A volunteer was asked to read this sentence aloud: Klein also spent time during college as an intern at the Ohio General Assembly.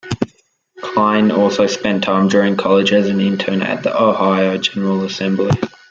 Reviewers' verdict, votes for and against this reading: rejected, 1, 2